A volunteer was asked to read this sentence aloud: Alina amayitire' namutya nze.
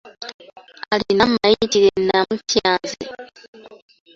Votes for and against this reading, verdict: 0, 2, rejected